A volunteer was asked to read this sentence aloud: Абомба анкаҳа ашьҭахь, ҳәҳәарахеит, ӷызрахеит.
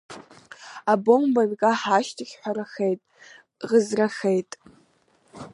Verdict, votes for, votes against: rejected, 2, 3